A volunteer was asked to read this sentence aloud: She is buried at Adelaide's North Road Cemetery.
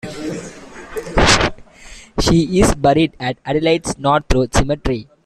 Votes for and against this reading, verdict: 0, 2, rejected